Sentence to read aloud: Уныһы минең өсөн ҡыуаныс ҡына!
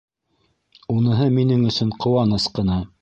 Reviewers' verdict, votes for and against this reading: rejected, 1, 2